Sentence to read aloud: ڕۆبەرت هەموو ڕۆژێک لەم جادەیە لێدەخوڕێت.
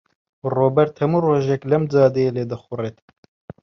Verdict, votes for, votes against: accepted, 2, 0